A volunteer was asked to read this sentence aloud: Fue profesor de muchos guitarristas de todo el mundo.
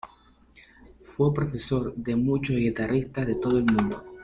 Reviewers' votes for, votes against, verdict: 2, 0, accepted